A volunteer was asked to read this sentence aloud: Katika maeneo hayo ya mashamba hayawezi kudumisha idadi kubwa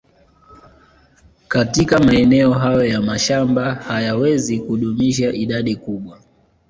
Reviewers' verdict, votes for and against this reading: accepted, 2, 0